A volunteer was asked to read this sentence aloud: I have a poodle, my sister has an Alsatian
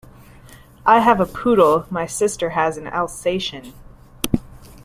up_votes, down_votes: 2, 0